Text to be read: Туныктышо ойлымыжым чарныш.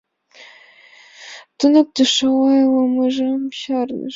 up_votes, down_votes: 1, 2